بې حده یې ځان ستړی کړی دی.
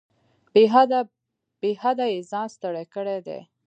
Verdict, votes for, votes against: rejected, 1, 2